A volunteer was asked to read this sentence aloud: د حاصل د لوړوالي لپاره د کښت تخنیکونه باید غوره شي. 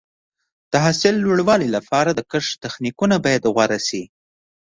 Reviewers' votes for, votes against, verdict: 1, 2, rejected